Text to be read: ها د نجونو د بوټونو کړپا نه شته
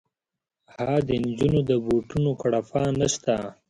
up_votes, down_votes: 2, 0